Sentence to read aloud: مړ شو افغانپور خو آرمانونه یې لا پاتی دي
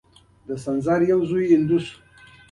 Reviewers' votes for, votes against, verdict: 2, 0, accepted